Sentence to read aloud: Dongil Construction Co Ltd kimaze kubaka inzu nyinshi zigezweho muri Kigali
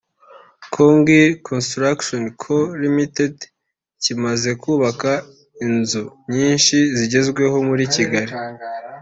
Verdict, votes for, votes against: accepted, 2, 0